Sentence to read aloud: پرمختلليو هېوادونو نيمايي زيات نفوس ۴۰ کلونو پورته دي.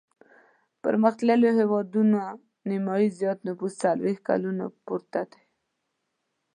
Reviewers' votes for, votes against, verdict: 0, 2, rejected